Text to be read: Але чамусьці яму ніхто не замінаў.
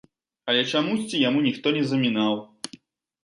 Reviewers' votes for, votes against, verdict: 2, 0, accepted